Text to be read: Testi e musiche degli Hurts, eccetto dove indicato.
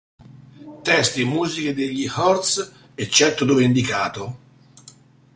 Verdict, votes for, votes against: accepted, 2, 0